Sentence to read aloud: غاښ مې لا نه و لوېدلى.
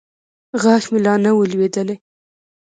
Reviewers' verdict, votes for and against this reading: rejected, 1, 2